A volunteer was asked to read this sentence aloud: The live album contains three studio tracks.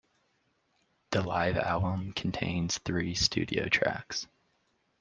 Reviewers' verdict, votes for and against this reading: accepted, 2, 0